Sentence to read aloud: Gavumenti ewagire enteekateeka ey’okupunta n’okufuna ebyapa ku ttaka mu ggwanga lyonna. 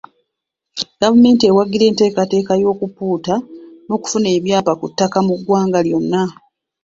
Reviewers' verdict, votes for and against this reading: rejected, 1, 2